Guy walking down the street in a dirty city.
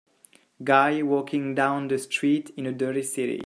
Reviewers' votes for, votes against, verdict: 1, 2, rejected